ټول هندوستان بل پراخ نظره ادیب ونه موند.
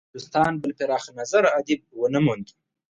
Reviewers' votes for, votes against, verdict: 2, 4, rejected